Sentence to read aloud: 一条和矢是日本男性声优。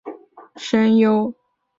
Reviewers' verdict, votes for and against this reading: rejected, 2, 3